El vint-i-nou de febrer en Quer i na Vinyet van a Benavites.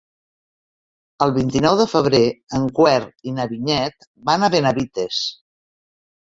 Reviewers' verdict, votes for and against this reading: rejected, 0, 2